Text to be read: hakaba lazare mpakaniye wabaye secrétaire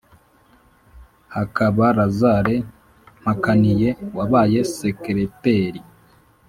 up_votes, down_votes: 3, 0